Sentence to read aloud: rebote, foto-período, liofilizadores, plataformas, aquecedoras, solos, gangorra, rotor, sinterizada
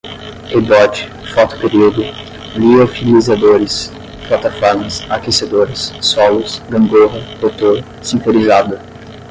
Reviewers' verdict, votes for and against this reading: accepted, 10, 5